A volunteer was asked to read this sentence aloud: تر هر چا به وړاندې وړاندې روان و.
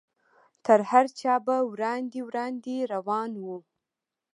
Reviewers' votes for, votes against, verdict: 2, 0, accepted